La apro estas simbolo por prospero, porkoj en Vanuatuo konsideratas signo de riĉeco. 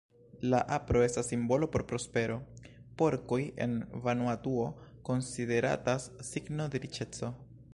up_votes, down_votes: 0, 2